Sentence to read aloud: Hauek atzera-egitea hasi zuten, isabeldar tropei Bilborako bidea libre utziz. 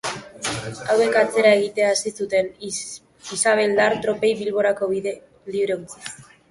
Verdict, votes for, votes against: rejected, 1, 3